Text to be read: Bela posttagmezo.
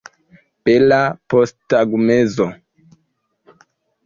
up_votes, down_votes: 2, 0